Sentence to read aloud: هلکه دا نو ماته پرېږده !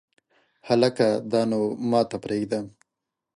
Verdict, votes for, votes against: accepted, 2, 0